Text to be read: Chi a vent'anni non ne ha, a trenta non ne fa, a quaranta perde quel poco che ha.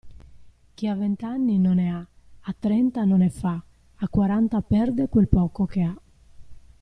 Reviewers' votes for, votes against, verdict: 2, 0, accepted